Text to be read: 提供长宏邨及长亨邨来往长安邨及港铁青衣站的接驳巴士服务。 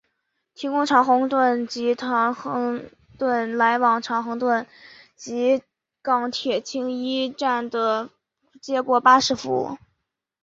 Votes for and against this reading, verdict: 3, 0, accepted